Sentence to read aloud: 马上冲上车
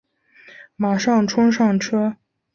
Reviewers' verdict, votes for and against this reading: accepted, 3, 0